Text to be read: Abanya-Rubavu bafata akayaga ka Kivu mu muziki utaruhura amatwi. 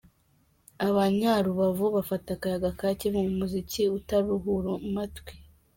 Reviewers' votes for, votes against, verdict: 3, 0, accepted